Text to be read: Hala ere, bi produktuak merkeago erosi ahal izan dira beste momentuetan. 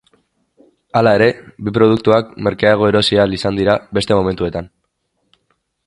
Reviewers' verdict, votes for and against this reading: accepted, 2, 0